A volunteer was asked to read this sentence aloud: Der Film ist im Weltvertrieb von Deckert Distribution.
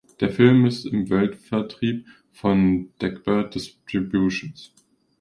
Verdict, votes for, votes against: rejected, 0, 2